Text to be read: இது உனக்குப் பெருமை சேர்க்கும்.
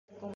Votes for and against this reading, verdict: 1, 2, rejected